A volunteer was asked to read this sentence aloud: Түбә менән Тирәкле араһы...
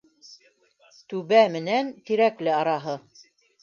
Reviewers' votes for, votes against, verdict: 1, 2, rejected